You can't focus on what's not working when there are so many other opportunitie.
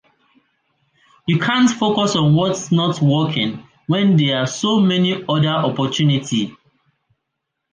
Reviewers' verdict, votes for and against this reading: rejected, 0, 2